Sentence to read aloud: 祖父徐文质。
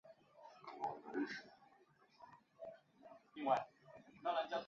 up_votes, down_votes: 1, 2